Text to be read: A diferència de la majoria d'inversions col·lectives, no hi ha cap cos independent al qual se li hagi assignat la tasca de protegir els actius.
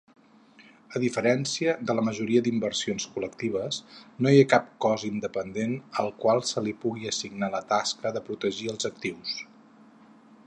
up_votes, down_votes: 2, 4